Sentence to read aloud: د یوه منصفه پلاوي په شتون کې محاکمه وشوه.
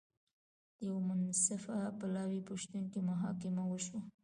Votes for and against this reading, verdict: 1, 2, rejected